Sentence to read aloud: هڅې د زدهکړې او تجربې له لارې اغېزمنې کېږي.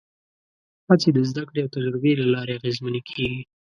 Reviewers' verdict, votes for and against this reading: accepted, 5, 0